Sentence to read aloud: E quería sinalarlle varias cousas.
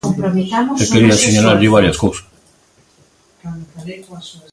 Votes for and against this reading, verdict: 0, 2, rejected